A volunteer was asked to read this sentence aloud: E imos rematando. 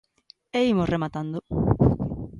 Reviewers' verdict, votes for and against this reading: accepted, 2, 0